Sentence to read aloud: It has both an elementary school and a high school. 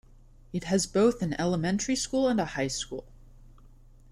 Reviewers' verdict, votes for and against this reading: accepted, 2, 0